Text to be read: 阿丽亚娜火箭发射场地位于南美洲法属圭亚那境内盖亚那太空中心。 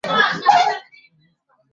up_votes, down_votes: 1, 4